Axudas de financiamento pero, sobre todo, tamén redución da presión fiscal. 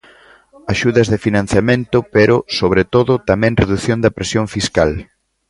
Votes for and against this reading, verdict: 2, 0, accepted